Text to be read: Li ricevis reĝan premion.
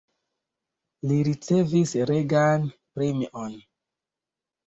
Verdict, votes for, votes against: rejected, 1, 2